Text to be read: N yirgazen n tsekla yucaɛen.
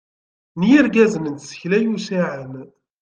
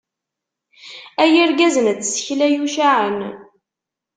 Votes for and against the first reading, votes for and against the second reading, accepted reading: 2, 0, 0, 2, first